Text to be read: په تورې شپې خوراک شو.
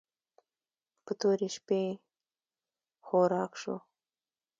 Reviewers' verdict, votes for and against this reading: rejected, 1, 2